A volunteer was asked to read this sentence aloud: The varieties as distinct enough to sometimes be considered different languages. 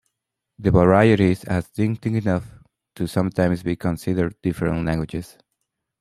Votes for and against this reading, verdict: 0, 2, rejected